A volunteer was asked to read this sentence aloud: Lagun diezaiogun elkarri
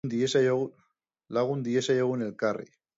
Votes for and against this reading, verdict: 0, 3, rejected